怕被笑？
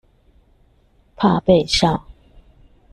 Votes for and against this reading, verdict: 2, 0, accepted